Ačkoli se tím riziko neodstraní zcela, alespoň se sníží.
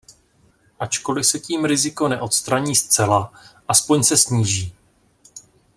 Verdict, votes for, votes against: rejected, 0, 2